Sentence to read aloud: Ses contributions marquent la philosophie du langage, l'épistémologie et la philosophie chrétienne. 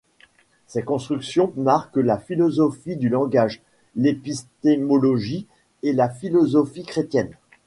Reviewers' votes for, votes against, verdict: 1, 2, rejected